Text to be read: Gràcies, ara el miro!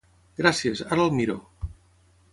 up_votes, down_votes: 6, 3